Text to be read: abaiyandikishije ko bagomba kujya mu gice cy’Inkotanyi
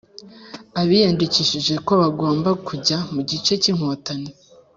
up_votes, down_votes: 2, 0